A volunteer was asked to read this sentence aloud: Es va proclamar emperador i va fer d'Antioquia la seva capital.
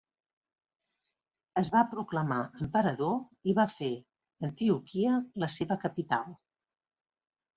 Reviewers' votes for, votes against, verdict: 1, 2, rejected